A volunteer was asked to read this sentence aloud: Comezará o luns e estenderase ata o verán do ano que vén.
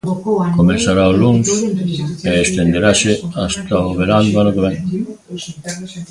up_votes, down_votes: 0, 2